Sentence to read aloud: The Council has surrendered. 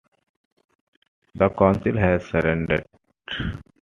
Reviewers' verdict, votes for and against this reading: accepted, 2, 1